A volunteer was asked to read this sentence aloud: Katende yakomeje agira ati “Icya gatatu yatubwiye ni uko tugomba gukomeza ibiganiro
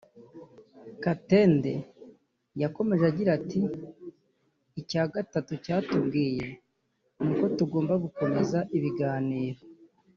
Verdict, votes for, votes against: rejected, 0, 2